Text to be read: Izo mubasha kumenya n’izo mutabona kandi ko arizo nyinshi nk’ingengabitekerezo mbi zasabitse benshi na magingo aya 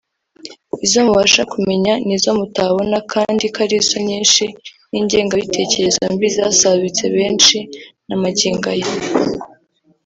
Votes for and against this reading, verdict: 2, 0, accepted